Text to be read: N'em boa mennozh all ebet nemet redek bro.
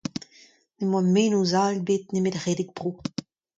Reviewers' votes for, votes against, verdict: 2, 0, accepted